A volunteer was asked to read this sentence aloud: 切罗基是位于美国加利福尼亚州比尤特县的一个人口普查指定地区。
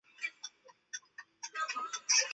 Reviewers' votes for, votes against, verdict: 6, 4, accepted